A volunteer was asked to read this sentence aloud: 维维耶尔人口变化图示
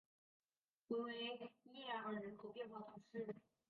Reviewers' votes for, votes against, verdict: 2, 3, rejected